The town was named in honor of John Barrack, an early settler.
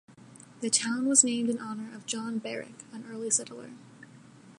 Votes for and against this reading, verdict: 1, 2, rejected